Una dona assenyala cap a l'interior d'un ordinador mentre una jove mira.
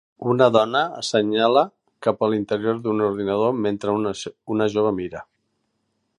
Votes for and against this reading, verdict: 0, 2, rejected